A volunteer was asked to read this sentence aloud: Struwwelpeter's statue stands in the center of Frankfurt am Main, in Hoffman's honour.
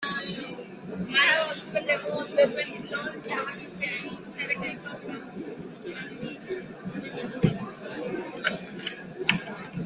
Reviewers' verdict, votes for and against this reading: rejected, 0, 2